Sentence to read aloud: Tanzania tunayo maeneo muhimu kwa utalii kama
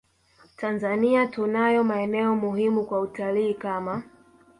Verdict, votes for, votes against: rejected, 0, 2